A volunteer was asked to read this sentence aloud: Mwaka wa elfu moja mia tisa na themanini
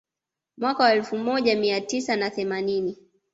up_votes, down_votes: 2, 0